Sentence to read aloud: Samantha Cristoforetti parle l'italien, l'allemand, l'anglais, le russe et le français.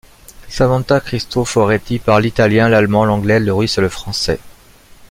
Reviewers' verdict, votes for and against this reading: accepted, 2, 0